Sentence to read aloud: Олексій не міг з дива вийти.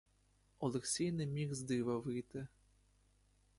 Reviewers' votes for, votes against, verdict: 2, 0, accepted